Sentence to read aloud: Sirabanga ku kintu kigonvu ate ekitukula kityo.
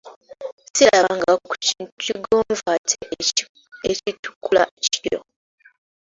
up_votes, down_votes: 0, 2